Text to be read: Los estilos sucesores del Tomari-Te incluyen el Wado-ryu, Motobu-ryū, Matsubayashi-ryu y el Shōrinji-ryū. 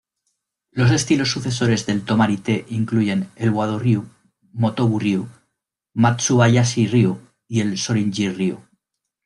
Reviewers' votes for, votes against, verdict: 2, 0, accepted